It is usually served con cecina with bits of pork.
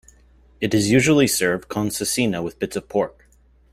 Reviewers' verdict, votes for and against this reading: accepted, 2, 0